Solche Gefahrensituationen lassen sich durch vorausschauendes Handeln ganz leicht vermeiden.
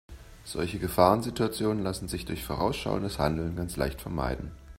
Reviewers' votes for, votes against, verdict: 2, 0, accepted